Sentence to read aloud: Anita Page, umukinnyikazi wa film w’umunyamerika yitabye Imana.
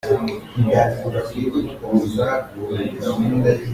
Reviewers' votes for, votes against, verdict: 0, 2, rejected